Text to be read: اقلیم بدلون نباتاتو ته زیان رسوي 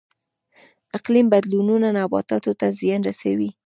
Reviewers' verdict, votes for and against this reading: accepted, 2, 0